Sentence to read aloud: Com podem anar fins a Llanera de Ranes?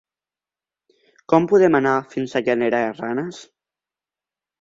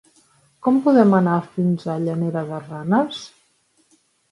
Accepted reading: second